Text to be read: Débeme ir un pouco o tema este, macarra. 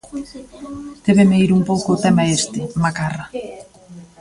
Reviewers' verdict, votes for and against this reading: rejected, 0, 2